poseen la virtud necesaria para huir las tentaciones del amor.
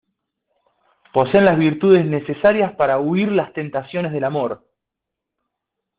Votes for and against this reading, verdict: 2, 0, accepted